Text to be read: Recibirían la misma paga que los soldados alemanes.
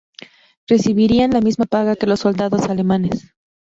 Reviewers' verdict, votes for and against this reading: accepted, 2, 0